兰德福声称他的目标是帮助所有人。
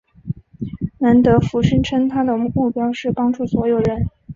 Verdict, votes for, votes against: accepted, 2, 0